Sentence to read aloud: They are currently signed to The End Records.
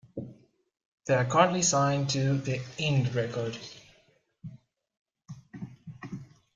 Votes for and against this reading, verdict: 0, 2, rejected